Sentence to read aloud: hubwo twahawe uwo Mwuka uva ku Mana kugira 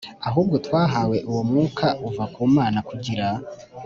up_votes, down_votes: 2, 0